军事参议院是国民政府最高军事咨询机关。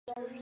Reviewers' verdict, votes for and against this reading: rejected, 0, 2